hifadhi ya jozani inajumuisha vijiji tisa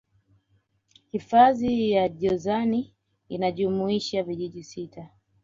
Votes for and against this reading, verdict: 0, 2, rejected